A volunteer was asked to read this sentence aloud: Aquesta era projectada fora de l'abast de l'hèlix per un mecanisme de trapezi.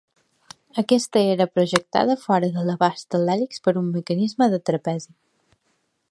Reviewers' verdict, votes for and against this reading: accepted, 2, 1